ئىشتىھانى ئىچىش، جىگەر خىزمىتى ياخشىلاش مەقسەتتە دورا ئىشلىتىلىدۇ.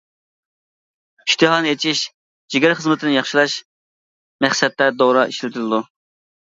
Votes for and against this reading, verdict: 2, 1, accepted